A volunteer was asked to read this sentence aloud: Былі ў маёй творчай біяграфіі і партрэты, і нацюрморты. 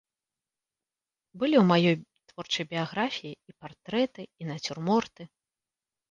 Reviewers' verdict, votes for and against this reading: accepted, 2, 0